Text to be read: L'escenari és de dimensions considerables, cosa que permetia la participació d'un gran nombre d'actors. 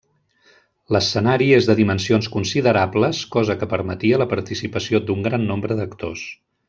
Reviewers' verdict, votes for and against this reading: rejected, 1, 2